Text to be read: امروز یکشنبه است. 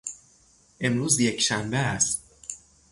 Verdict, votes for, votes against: accepted, 3, 0